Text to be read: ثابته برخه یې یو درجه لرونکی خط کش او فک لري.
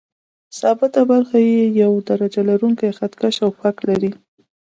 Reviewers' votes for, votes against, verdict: 2, 0, accepted